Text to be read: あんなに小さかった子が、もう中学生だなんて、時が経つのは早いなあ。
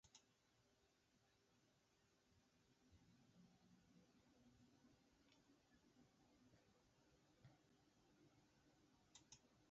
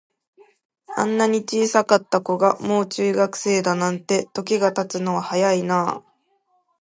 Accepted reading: second